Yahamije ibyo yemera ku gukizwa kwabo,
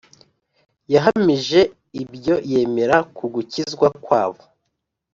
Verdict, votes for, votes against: accepted, 2, 0